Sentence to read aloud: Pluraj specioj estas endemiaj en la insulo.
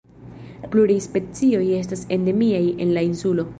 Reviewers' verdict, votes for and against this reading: rejected, 1, 2